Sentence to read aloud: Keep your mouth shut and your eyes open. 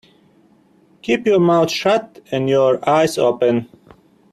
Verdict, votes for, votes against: accepted, 2, 0